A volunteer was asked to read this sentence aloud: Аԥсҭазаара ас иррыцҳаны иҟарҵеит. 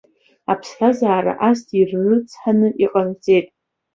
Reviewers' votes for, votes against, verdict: 2, 0, accepted